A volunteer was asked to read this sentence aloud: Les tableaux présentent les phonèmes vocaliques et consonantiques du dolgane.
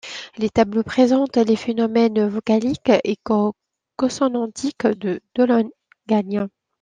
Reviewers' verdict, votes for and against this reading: rejected, 1, 2